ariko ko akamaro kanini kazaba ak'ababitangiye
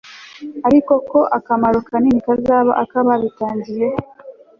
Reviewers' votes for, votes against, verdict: 3, 0, accepted